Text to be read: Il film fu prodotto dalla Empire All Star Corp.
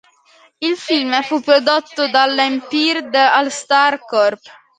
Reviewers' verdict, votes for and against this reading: rejected, 0, 2